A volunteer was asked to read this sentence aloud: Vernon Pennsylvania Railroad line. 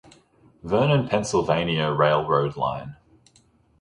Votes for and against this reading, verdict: 2, 0, accepted